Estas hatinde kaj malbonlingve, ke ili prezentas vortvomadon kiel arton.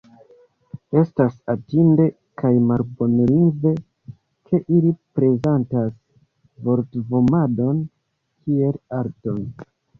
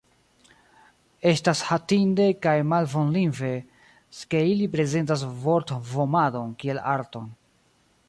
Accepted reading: first